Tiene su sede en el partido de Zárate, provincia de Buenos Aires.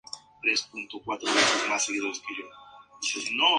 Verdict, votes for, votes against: rejected, 0, 2